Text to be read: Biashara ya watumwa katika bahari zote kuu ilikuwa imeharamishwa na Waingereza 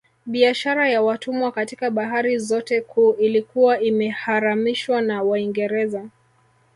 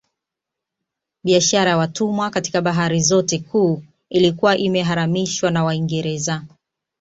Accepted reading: second